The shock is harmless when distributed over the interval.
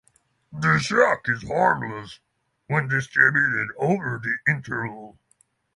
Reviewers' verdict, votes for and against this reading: rejected, 3, 3